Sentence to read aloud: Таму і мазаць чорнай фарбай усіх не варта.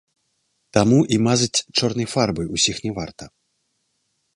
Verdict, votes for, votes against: accepted, 3, 0